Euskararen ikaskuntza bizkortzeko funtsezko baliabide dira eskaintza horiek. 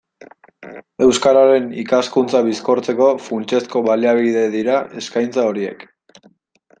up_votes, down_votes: 2, 0